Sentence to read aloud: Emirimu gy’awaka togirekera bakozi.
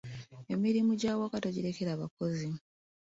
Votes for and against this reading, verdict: 2, 3, rejected